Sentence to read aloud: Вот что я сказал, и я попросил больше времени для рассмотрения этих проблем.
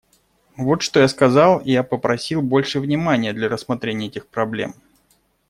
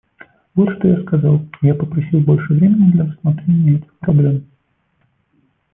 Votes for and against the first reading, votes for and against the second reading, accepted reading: 0, 2, 2, 0, second